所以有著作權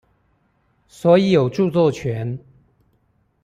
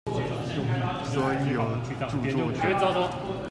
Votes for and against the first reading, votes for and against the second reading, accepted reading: 2, 0, 1, 2, first